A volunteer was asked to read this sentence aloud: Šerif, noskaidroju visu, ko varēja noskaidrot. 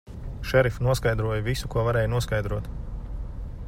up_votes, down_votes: 2, 0